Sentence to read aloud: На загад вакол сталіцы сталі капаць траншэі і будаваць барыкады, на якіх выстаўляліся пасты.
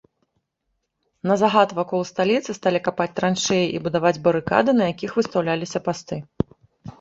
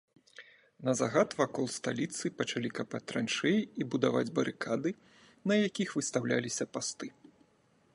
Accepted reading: first